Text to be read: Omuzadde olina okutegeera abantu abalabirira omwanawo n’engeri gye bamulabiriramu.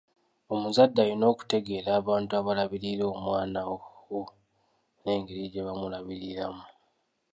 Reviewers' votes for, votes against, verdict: 0, 2, rejected